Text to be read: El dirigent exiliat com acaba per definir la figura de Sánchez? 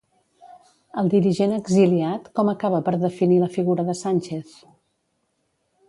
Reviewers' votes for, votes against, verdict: 1, 2, rejected